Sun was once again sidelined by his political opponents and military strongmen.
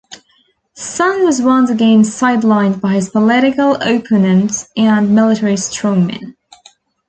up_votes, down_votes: 2, 1